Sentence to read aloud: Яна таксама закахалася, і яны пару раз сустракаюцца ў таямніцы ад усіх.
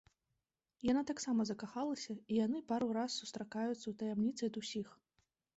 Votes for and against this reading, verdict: 2, 0, accepted